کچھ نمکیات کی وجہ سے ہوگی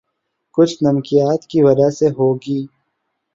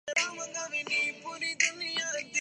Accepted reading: first